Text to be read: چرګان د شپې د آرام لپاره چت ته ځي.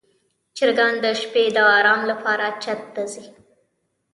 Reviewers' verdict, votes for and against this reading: rejected, 1, 2